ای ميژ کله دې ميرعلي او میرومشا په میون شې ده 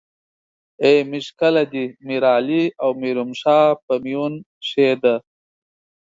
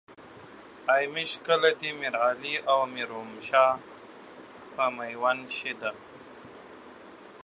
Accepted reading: first